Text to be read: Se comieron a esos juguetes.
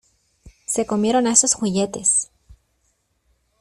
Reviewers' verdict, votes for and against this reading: rejected, 1, 2